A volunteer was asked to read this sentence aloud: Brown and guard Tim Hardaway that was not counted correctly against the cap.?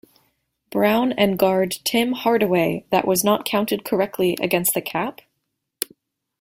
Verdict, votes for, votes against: rejected, 1, 2